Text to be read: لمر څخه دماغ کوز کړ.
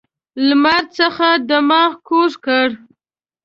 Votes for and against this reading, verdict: 2, 0, accepted